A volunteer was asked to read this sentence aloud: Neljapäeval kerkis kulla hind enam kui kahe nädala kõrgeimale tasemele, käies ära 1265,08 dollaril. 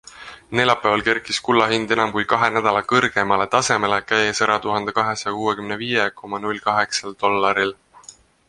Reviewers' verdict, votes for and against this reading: rejected, 0, 2